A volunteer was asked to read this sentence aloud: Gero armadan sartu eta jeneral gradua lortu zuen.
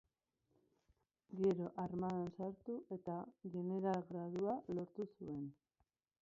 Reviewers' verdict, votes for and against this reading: rejected, 0, 2